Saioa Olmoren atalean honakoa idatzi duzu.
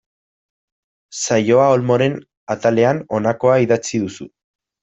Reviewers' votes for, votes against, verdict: 1, 2, rejected